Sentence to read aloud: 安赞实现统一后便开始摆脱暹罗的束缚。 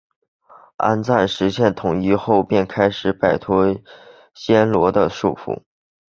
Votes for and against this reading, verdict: 3, 0, accepted